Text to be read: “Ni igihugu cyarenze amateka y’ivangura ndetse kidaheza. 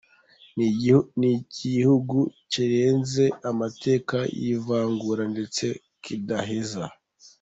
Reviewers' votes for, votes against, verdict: 0, 2, rejected